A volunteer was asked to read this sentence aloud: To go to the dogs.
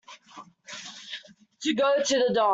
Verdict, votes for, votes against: rejected, 0, 2